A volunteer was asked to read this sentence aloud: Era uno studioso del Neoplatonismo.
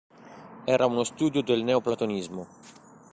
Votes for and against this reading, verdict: 0, 2, rejected